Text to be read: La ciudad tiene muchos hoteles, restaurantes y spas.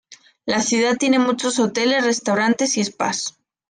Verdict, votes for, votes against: accepted, 2, 0